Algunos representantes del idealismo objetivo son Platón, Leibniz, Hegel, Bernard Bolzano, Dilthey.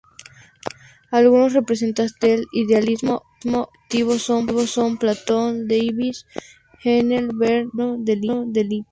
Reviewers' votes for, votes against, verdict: 0, 2, rejected